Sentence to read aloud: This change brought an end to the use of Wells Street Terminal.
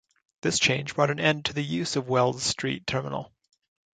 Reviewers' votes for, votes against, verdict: 2, 1, accepted